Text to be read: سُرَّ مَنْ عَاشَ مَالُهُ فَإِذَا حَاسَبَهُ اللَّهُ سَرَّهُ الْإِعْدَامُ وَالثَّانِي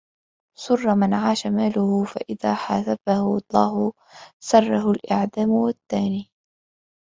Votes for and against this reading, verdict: 2, 1, accepted